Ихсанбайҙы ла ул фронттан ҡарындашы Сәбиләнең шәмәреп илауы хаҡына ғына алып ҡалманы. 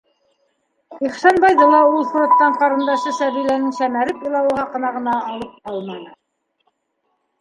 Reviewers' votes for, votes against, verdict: 0, 2, rejected